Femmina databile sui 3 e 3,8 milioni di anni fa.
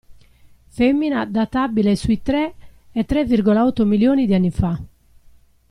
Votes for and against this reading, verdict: 0, 2, rejected